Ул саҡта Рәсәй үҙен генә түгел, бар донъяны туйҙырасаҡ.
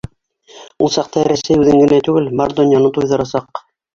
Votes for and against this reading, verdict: 1, 2, rejected